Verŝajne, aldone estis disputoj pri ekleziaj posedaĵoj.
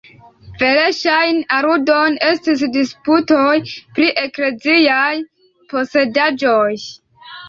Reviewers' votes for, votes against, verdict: 1, 2, rejected